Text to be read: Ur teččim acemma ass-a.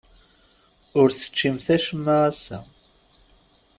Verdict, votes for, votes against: rejected, 0, 2